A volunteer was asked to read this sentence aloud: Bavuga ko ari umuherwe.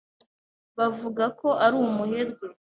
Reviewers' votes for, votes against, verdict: 2, 0, accepted